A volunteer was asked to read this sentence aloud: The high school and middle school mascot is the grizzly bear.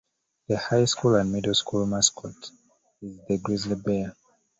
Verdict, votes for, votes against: rejected, 1, 2